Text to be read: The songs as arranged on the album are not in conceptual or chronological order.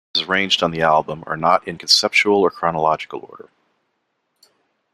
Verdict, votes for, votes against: rejected, 0, 2